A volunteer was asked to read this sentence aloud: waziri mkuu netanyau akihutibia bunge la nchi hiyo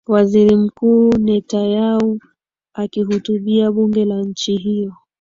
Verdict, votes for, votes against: accepted, 2, 0